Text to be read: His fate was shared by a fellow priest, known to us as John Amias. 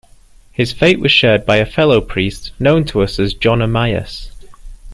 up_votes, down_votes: 2, 0